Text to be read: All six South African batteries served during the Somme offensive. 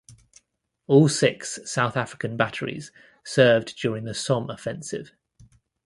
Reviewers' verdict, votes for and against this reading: accepted, 2, 0